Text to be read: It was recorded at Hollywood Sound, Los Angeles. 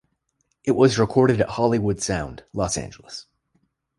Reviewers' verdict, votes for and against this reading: rejected, 1, 2